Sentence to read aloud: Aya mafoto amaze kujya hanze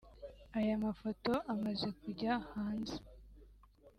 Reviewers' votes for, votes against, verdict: 2, 0, accepted